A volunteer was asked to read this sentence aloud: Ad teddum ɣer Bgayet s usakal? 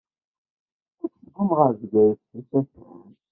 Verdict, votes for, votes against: rejected, 0, 2